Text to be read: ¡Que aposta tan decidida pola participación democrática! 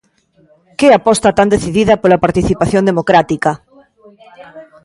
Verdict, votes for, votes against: rejected, 1, 2